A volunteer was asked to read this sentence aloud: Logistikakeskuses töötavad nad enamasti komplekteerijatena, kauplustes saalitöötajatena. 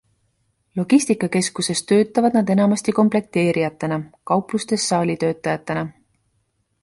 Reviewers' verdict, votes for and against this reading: accepted, 2, 0